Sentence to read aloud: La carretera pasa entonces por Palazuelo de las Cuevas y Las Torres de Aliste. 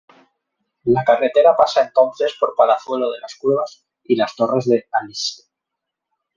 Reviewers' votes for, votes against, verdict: 0, 2, rejected